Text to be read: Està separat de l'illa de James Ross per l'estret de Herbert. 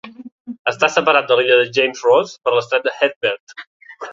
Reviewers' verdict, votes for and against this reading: accepted, 2, 0